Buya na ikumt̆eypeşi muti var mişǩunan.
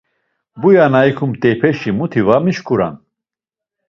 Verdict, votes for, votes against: accepted, 2, 0